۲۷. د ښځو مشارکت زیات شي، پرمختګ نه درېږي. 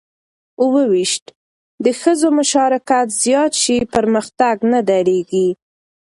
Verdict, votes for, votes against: rejected, 0, 2